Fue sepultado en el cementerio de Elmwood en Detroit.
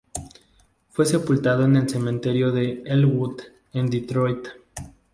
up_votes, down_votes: 4, 0